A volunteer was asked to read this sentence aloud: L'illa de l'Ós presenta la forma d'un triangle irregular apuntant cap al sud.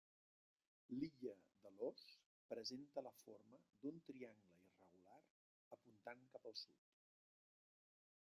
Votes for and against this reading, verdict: 0, 2, rejected